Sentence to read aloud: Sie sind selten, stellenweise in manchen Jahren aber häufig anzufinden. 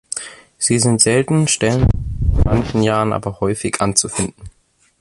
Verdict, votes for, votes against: rejected, 0, 2